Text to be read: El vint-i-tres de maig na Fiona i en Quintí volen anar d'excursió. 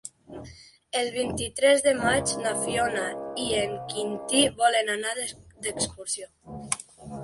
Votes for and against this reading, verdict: 2, 1, accepted